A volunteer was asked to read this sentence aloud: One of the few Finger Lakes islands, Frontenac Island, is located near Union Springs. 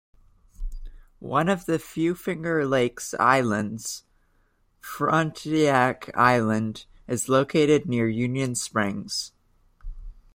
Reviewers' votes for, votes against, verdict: 1, 2, rejected